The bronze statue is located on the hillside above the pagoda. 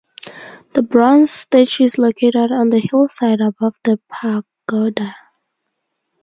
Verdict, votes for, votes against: accepted, 4, 0